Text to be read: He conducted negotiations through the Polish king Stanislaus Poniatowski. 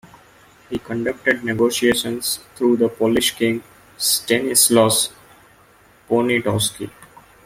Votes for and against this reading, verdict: 2, 0, accepted